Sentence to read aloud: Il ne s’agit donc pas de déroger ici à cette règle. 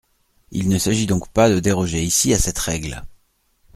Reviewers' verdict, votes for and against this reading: accepted, 2, 0